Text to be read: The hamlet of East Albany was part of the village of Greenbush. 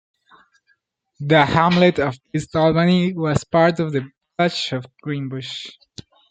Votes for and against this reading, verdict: 0, 2, rejected